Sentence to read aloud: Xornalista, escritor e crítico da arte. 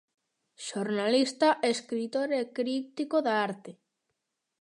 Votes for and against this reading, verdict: 2, 0, accepted